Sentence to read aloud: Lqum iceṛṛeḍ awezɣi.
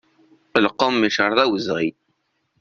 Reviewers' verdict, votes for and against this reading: accepted, 2, 0